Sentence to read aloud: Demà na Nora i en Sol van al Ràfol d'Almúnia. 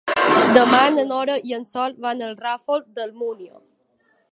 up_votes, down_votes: 2, 1